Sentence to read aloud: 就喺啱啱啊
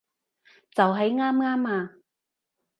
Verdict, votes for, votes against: accepted, 2, 0